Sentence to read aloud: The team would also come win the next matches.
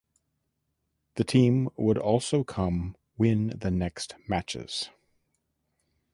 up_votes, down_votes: 2, 0